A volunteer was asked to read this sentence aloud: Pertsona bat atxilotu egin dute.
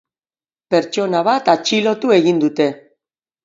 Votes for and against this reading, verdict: 8, 0, accepted